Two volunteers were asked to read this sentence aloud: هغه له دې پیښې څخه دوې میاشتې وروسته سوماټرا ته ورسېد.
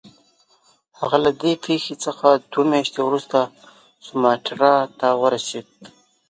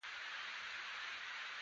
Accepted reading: first